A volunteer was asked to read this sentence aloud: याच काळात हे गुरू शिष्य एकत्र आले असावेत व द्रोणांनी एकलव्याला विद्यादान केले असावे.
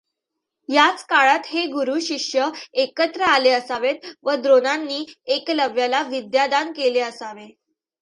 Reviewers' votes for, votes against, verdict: 2, 0, accepted